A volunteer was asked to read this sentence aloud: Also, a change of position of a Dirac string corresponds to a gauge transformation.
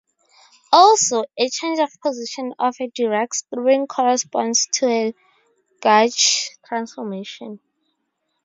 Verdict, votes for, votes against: rejected, 0, 2